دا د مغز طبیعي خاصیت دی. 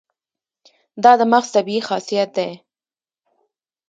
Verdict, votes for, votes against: rejected, 0, 2